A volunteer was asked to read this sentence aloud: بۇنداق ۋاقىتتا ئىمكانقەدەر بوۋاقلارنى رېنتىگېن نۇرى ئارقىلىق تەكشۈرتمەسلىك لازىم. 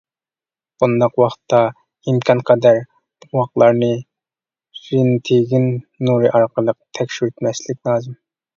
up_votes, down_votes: 1, 2